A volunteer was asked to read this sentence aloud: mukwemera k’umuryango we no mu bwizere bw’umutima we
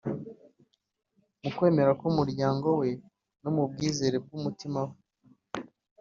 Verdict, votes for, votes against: accepted, 2, 0